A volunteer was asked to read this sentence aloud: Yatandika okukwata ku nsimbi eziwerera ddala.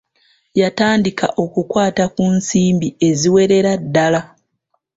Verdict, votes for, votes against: accepted, 2, 0